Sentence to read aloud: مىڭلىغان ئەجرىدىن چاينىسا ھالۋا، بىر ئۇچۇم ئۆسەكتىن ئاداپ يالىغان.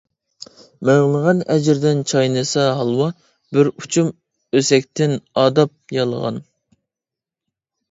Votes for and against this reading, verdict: 2, 0, accepted